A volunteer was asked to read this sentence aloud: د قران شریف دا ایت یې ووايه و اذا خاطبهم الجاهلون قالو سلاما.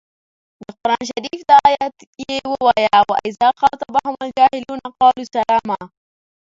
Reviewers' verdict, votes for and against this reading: rejected, 1, 2